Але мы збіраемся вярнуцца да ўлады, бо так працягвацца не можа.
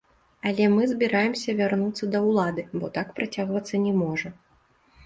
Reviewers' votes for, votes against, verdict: 0, 2, rejected